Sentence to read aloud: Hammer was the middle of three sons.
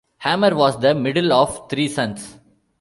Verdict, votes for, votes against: accepted, 2, 0